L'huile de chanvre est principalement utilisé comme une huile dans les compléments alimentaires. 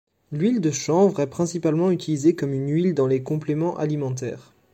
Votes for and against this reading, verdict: 0, 2, rejected